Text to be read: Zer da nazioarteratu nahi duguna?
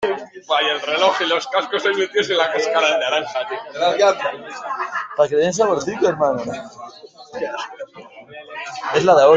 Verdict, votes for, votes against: rejected, 0, 2